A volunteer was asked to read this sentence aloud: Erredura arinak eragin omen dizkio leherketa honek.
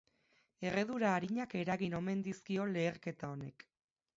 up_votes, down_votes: 4, 0